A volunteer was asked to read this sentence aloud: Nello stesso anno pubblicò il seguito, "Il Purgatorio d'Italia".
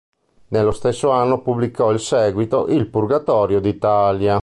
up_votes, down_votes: 2, 0